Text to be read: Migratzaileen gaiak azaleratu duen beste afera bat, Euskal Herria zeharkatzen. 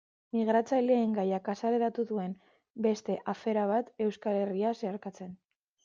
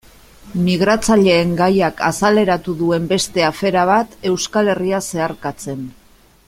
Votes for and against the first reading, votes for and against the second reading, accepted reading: 1, 2, 2, 0, second